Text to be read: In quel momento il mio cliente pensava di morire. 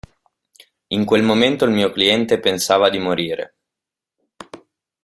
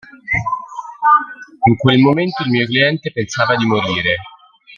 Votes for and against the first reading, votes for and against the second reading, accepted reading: 2, 0, 1, 2, first